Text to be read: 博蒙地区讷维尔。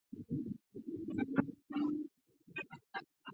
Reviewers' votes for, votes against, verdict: 0, 2, rejected